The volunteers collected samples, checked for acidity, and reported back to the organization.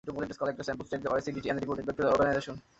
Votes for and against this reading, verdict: 0, 2, rejected